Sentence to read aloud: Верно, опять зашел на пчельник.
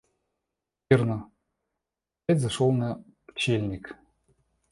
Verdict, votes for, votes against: rejected, 0, 2